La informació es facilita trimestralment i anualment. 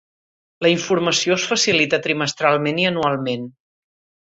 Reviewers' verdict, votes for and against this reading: accepted, 2, 0